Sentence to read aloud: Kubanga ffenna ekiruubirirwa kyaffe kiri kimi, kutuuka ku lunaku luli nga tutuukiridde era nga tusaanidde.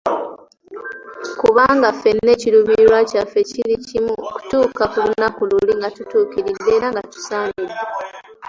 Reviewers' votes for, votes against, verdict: 2, 1, accepted